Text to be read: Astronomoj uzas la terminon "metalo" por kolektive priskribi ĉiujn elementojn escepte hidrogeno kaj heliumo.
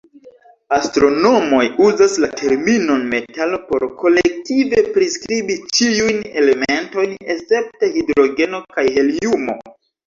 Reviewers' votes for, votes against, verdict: 2, 0, accepted